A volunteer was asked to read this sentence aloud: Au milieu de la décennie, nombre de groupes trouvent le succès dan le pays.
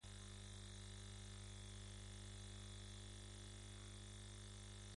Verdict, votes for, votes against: rejected, 0, 2